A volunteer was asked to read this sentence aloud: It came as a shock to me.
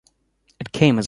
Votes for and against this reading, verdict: 0, 2, rejected